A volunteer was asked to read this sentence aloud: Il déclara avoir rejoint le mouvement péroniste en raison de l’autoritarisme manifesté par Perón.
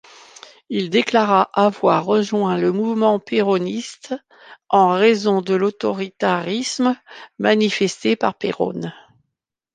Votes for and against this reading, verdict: 2, 0, accepted